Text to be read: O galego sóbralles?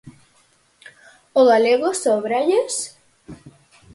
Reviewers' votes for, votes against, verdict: 4, 0, accepted